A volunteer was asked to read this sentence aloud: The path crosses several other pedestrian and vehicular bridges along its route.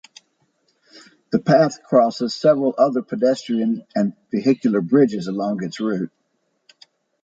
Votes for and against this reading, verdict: 2, 0, accepted